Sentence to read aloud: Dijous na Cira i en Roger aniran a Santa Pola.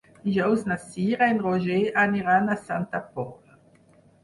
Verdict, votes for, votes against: accepted, 4, 0